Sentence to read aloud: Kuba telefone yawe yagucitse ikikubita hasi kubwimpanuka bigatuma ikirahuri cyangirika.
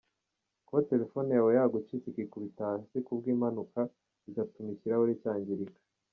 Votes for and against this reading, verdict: 2, 0, accepted